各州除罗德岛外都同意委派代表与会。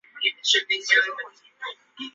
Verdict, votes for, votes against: accepted, 2, 0